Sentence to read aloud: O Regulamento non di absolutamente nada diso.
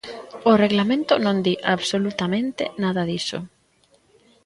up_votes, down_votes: 0, 2